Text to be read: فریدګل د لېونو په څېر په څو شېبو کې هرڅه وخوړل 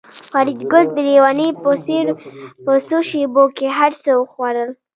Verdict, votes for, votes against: rejected, 0, 2